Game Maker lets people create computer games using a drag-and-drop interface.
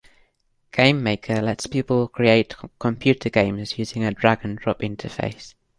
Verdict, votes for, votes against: accepted, 2, 0